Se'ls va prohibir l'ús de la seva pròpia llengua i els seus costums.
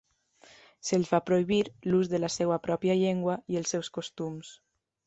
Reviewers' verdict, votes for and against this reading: accepted, 2, 0